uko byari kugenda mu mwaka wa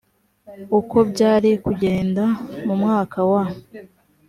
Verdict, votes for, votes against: accepted, 2, 0